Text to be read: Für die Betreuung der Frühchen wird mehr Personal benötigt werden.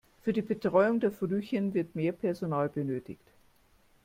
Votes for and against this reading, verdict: 0, 2, rejected